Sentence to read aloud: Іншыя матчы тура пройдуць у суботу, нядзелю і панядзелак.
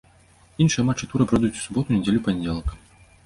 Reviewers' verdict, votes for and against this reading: rejected, 1, 2